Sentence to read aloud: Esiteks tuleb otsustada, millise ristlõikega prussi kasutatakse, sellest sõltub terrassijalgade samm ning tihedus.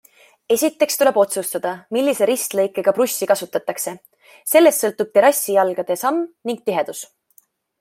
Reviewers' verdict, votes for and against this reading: accepted, 2, 0